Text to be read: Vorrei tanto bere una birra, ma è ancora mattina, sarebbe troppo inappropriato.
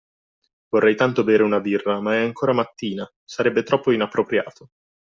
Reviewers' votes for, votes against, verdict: 2, 0, accepted